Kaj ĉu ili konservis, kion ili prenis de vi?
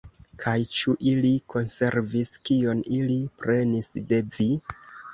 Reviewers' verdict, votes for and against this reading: accepted, 3, 0